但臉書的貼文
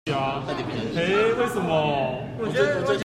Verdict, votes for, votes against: rejected, 0, 2